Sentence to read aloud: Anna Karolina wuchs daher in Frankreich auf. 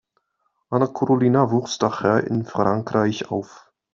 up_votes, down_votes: 2, 0